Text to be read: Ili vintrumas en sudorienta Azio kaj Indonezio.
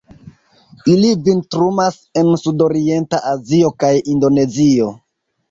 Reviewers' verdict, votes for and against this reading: accepted, 2, 0